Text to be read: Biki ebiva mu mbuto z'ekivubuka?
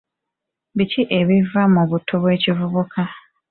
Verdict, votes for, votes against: rejected, 1, 2